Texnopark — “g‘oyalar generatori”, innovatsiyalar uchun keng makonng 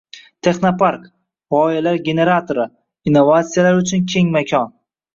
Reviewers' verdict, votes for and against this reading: rejected, 1, 2